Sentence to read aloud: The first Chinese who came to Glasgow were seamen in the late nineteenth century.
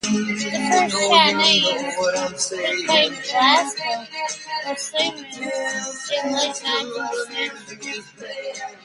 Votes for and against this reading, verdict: 0, 2, rejected